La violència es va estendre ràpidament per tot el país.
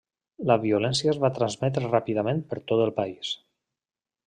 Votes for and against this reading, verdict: 0, 2, rejected